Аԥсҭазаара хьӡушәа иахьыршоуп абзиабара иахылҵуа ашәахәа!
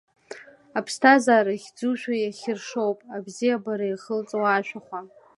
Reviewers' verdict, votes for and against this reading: accepted, 2, 0